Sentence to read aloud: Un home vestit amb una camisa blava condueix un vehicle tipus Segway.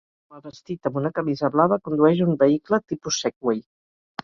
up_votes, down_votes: 0, 4